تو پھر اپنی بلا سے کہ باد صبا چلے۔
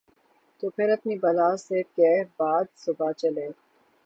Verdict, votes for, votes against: accepted, 6, 0